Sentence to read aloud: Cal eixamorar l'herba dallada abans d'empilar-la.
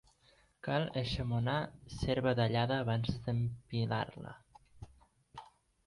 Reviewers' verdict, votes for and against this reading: rejected, 2, 3